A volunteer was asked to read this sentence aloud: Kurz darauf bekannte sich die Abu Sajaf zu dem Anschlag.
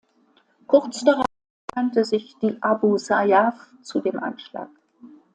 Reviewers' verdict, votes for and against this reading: rejected, 0, 2